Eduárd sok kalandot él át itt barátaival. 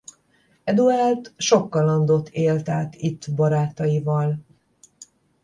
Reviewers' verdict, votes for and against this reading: rejected, 5, 10